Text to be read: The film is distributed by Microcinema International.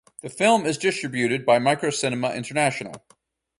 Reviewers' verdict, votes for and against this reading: accepted, 2, 0